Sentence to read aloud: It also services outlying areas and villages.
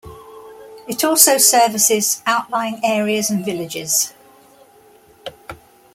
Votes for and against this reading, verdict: 2, 0, accepted